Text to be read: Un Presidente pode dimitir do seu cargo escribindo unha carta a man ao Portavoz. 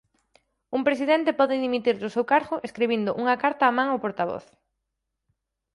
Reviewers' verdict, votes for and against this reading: accepted, 4, 0